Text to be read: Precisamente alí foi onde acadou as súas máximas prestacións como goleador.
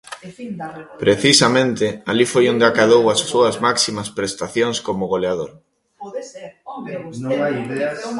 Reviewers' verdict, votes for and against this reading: rejected, 0, 2